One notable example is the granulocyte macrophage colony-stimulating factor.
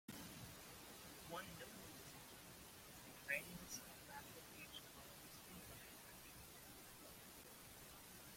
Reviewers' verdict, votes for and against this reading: rejected, 1, 2